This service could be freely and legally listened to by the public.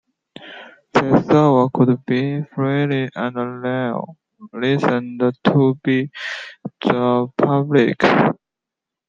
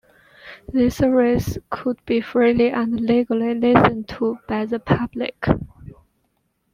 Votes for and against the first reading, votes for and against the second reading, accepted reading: 0, 2, 2, 0, second